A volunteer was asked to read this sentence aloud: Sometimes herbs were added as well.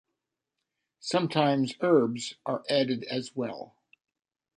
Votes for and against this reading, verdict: 1, 2, rejected